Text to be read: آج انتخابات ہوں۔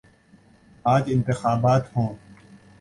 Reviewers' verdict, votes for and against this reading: accepted, 3, 0